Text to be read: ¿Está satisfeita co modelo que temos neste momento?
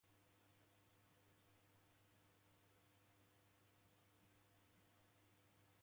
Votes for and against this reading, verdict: 0, 2, rejected